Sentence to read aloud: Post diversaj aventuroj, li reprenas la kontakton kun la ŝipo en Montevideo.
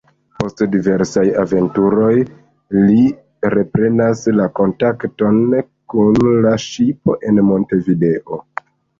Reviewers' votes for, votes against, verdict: 2, 1, accepted